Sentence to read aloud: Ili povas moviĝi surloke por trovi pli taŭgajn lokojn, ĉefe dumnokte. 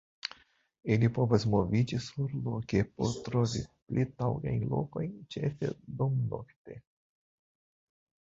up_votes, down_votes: 2, 1